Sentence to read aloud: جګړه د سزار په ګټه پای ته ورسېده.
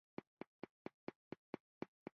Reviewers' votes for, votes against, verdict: 2, 3, rejected